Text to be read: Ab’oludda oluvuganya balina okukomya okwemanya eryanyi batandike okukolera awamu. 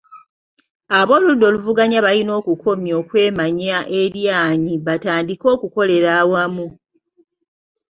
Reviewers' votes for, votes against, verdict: 2, 1, accepted